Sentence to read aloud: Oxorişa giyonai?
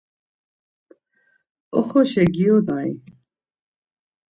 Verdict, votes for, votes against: accepted, 2, 0